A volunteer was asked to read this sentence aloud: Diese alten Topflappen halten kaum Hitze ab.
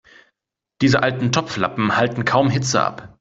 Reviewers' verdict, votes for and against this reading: accepted, 2, 0